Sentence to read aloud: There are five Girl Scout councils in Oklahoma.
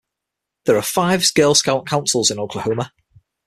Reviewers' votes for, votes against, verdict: 0, 6, rejected